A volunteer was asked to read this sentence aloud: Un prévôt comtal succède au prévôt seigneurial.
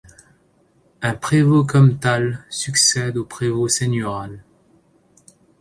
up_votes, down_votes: 0, 2